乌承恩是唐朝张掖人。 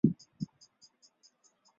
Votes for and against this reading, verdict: 0, 2, rejected